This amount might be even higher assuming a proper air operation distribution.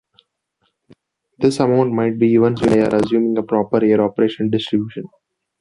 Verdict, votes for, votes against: rejected, 0, 2